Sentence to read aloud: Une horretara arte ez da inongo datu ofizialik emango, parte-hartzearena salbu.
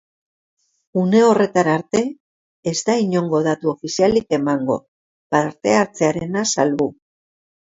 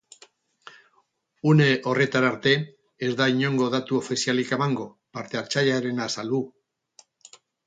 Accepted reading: first